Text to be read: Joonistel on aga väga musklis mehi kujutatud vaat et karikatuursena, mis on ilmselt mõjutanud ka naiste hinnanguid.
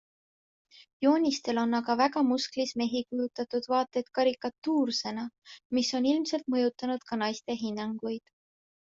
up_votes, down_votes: 2, 0